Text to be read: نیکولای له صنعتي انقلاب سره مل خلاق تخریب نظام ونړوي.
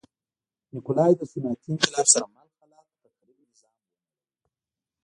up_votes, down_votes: 0, 2